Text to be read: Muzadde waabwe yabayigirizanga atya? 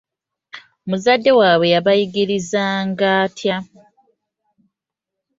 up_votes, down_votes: 2, 0